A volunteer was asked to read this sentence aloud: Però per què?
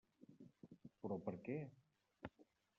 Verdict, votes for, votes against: rejected, 0, 2